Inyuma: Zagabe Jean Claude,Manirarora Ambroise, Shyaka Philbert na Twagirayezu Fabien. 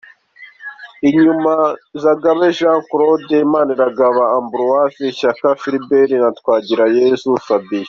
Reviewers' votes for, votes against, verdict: 2, 0, accepted